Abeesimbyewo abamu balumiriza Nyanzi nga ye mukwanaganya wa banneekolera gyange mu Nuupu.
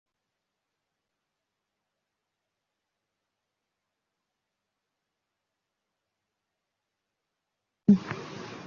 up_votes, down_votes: 0, 2